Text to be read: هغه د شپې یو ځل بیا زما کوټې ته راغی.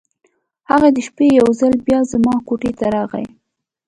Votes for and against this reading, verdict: 2, 0, accepted